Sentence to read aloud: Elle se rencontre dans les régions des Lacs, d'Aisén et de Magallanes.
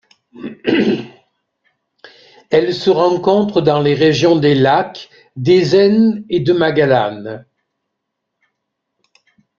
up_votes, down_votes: 1, 2